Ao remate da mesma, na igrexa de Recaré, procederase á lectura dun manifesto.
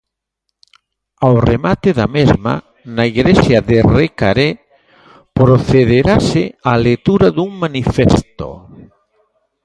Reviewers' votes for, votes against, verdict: 2, 0, accepted